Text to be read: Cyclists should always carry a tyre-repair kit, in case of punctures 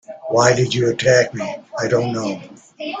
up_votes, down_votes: 0, 2